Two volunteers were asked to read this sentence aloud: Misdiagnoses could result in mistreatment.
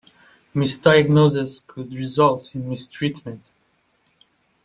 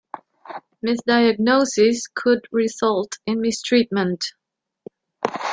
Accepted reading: second